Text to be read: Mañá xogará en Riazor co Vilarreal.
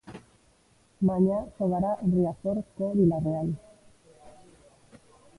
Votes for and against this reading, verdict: 1, 2, rejected